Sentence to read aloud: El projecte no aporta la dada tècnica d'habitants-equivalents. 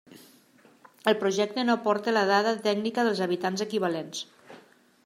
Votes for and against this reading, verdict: 0, 2, rejected